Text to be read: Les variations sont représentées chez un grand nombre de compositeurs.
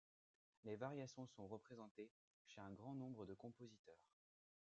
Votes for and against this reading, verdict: 1, 2, rejected